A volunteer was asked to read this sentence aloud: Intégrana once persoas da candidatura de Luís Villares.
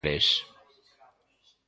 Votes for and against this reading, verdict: 0, 2, rejected